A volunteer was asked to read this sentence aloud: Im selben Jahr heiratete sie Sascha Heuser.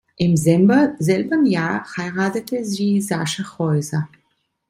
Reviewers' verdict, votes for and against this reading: rejected, 0, 2